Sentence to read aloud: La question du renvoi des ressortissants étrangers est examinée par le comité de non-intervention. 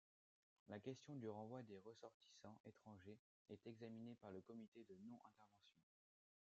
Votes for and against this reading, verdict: 1, 2, rejected